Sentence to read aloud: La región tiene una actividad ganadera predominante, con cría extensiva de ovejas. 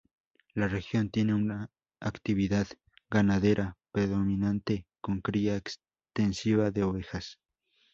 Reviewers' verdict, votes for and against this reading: rejected, 0, 2